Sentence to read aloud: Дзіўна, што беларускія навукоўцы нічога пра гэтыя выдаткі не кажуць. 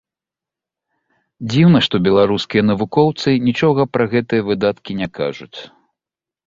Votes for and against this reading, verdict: 2, 0, accepted